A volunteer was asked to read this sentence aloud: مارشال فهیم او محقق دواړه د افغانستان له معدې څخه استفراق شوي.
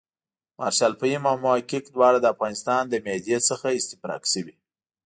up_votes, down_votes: 2, 0